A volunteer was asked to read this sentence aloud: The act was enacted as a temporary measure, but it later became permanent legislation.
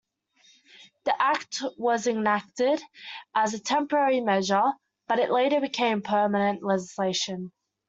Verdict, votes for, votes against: accepted, 2, 0